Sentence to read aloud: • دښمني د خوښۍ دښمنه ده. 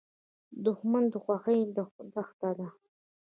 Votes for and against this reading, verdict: 1, 2, rejected